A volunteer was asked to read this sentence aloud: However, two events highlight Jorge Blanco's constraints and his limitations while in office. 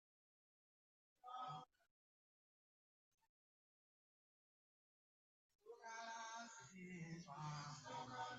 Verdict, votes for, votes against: rejected, 0, 2